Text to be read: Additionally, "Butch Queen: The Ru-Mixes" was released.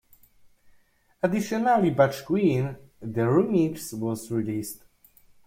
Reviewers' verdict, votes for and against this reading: accepted, 2, 1